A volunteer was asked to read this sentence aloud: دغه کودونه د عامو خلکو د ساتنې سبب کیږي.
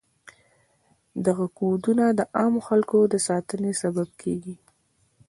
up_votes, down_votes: 2, 0